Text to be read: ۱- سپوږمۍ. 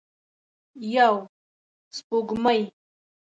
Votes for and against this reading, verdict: 0, 2, rejected